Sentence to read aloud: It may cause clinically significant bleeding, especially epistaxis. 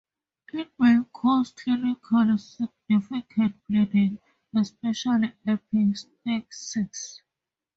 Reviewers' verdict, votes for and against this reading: rejected, 0, 4